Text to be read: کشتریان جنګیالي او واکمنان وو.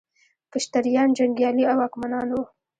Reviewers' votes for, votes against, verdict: 1, 2, rejected